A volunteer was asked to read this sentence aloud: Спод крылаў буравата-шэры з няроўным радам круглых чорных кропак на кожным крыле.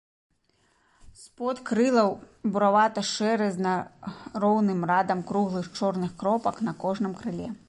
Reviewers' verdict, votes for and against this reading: rejected, 0, 2